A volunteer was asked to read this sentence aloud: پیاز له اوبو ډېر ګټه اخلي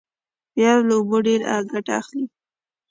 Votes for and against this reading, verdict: 2, 0, accepted